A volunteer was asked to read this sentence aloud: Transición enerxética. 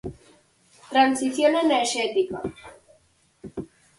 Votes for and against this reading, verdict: 4, 0, accepted